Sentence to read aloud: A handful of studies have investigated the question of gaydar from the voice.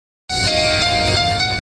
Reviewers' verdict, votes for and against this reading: rejected, 0, 2